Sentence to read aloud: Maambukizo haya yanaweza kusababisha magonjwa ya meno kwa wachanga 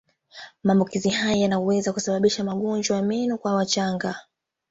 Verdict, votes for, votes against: accepted, 2, 0